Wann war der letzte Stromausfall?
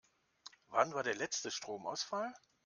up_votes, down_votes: 2, 0